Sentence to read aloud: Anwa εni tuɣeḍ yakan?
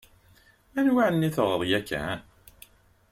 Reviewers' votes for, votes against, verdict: 2, 0, accepted